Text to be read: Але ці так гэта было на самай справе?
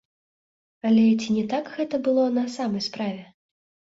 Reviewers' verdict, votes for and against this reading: rejected, 1, 2